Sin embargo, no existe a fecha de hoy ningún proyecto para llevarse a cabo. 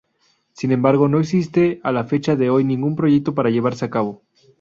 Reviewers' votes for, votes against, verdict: 0, 2, rejected